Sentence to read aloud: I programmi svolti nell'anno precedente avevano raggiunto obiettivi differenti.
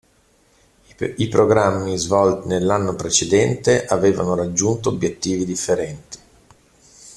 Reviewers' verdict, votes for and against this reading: rejected, 1, 2